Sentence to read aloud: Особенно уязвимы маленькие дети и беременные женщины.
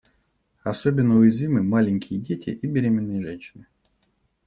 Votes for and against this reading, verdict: 2, 0, accepted